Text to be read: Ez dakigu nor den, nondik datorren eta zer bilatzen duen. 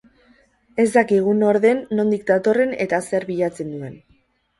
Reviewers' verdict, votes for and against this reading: rejected, 0, 2